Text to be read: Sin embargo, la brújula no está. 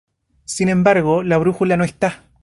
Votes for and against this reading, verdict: 2, 0, accepted